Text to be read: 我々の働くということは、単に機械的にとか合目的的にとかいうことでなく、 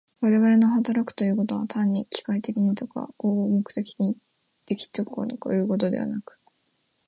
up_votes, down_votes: 2, 0